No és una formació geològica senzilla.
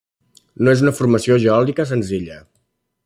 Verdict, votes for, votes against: rejected, 1, 2